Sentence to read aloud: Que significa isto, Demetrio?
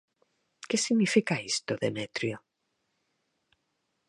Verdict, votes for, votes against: accepted, 4, 0